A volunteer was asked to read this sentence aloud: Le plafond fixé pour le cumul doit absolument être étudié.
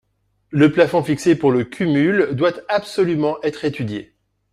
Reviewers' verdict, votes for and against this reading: rejected, 0, 2